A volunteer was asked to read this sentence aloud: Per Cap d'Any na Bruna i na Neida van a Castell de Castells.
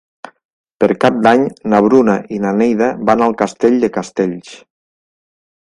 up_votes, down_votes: 0, 2